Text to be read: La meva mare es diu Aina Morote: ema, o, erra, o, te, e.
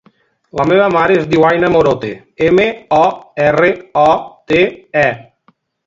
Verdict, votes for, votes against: rejected, 1, 2